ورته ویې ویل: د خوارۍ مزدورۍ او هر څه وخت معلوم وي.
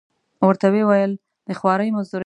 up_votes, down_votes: 1, 2